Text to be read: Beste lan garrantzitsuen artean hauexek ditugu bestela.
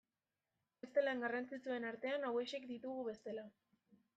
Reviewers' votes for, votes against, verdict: 2, 1, accepted